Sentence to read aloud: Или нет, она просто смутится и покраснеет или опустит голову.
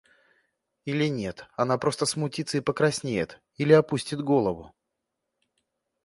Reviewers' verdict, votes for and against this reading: accepted, 2, 0